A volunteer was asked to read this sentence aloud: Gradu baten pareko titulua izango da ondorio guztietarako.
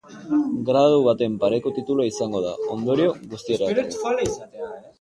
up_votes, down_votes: 0, 4